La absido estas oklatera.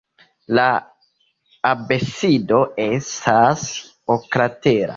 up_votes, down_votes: 0, 2